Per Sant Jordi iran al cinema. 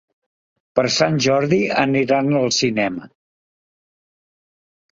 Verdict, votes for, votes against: rejected, 1, 2